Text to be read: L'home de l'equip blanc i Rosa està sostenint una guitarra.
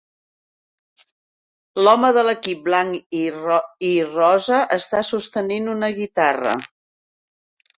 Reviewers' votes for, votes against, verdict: 1, 2, rejected